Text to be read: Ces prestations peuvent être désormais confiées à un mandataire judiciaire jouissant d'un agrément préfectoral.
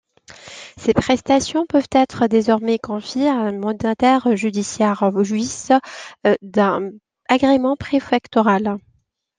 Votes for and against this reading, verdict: 2, 0, accepted